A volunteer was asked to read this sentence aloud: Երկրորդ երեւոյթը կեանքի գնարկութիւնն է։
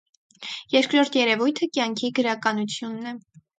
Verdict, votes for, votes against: rejected, 2, 4